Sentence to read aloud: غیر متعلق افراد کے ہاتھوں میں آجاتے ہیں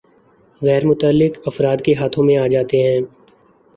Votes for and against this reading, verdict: 2, 0, accepted